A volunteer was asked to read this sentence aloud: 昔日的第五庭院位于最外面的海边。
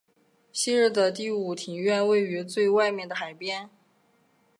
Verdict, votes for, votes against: accepted, 3, 2